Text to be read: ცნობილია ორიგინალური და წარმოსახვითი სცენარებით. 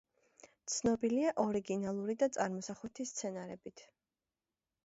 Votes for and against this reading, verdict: 2, 0, accepted